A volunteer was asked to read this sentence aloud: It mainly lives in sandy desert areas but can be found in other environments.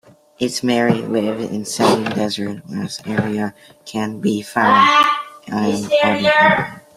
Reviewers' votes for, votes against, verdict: 0, 2, rejected